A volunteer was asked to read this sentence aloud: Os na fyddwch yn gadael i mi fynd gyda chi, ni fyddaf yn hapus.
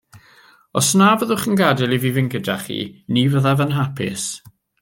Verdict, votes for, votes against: rejected, 0, 2